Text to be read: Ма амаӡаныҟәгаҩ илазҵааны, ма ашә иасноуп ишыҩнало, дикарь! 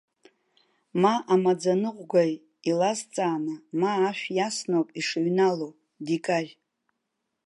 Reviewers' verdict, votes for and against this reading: accepted, 2, 0